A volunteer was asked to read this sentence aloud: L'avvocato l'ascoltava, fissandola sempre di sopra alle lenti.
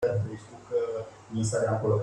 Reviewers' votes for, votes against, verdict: 0, 2, rejected